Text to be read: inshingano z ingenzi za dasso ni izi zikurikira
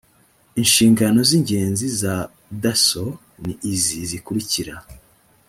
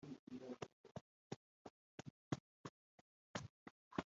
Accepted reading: first